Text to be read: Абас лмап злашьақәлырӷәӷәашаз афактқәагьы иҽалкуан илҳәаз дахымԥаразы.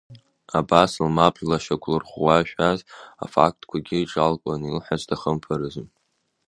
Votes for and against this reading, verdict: 1, 2, rejected